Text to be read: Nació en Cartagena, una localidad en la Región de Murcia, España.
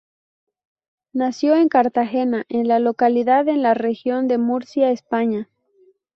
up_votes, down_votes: 0, 2